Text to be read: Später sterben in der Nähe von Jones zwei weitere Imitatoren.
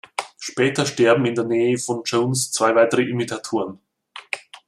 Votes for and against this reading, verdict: 2, 0, accepted